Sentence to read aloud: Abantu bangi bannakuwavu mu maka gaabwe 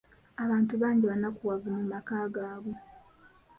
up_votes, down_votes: 2, 0